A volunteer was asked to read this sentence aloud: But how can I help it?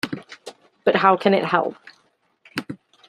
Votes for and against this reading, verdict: 0, 2, rejected